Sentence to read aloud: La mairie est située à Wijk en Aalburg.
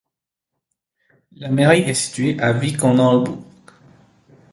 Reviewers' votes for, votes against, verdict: 0, 2, rejected